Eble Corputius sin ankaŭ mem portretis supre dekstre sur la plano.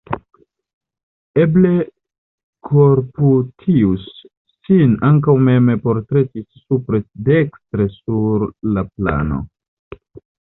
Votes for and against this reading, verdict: 1, 2, rejected